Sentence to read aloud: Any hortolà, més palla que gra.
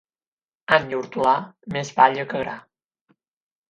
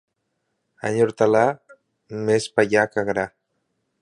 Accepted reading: first